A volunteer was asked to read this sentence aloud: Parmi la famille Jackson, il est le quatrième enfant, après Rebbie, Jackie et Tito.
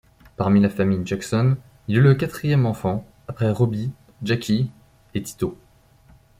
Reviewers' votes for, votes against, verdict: 0, 2, rejected